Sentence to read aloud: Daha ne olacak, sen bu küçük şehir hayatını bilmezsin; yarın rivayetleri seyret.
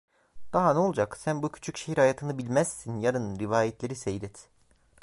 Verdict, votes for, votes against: accepted, 2, 1